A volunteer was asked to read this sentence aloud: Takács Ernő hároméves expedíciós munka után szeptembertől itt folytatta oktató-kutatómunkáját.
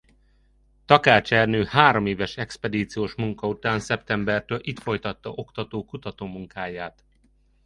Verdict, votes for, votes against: accepted, 2, 0